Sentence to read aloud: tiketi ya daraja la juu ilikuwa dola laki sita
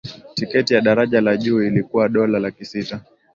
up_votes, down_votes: 2, 0